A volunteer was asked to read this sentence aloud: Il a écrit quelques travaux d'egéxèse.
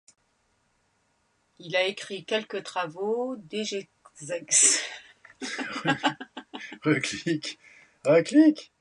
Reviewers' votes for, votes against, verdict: 0, 2, rejected